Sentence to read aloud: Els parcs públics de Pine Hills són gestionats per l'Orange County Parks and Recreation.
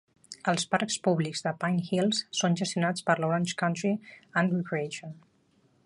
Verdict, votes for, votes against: rejected, 0, 2